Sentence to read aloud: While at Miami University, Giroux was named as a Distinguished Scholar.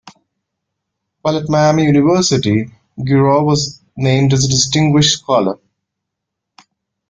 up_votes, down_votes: 2, 1